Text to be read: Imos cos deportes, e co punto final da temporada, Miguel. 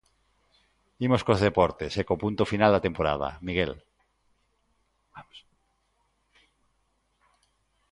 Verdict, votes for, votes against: accepted, 2, 1